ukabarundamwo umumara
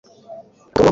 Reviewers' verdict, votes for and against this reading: rejected, 0, 2